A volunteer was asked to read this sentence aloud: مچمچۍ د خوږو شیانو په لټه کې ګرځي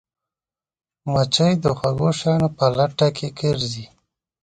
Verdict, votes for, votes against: rejected, 1, 2